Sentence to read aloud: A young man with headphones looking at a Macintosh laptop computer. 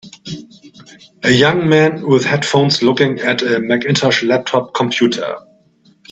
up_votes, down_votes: 2, 0